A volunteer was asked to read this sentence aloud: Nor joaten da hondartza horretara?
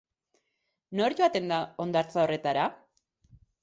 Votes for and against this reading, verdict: 4, 0, accepted